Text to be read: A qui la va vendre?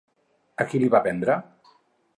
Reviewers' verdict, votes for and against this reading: rejected, 2, 2